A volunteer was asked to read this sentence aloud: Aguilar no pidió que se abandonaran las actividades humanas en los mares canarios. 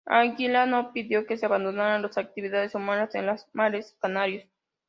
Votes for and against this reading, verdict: 2, 0, accepted